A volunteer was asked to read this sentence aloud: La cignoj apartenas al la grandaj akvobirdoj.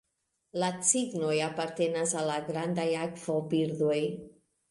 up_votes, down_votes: 1, 2